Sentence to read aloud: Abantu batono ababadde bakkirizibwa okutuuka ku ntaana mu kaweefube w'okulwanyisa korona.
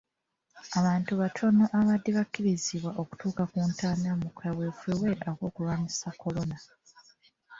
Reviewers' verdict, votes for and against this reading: rejected, 0, 2